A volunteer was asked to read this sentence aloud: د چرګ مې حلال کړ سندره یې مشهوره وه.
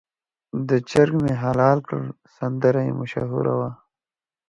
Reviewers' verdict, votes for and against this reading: accepted, 2, 0